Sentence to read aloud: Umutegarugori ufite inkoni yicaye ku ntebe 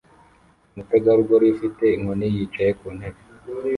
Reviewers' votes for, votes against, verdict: 1, 2, rejected